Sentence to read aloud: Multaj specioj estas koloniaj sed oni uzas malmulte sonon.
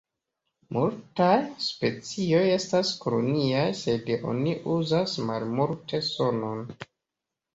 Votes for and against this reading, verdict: 2, 0, accepted